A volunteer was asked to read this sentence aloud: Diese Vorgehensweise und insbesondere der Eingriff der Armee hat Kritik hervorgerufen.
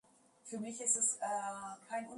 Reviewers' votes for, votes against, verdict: 0, 2, rejected